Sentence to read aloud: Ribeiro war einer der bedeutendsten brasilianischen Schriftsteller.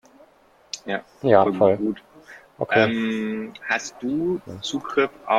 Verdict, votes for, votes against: rejected, 0, 2